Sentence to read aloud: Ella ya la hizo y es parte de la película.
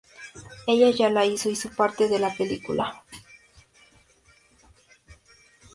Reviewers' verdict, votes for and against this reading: rejected, 2, 2